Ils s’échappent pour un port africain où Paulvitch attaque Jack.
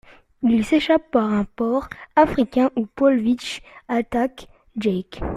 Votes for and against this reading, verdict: 1, 2, rejected